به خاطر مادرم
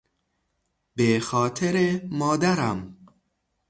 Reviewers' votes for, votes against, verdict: 0, 3, rejected